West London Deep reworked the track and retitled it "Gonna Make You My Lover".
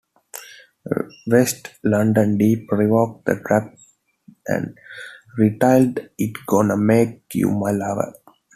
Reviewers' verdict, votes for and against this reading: rejected, 0, 2